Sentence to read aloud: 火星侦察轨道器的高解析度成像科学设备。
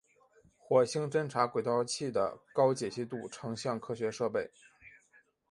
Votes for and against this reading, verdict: 3, 0, accepted